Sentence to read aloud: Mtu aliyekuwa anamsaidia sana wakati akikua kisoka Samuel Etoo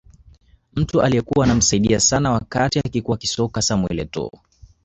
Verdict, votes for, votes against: rejected, 1, 2